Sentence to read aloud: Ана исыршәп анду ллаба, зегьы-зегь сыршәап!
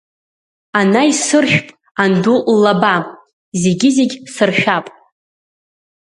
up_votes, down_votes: 2, 0